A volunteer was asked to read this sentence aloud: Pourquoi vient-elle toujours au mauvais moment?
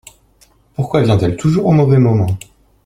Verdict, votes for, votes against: accepted, 2, 0